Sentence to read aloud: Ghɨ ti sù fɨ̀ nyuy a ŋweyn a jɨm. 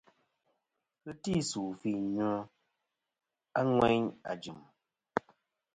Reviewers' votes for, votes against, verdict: 0, 2, rejected